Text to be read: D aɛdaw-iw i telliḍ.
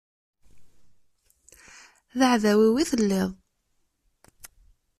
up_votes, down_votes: 2, 0